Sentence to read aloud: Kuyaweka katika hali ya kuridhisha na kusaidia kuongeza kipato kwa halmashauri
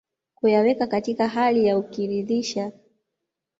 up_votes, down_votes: 1, 2